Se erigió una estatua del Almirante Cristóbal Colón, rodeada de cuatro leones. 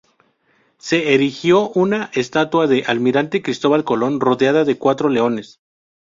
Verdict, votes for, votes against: rejected, 0, 2